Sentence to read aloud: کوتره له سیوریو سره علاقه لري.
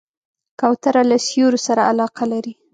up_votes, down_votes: 3, 0